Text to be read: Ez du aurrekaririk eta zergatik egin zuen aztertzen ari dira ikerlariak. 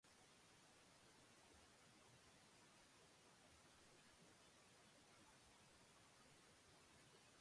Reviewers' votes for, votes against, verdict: 0, 3, rejected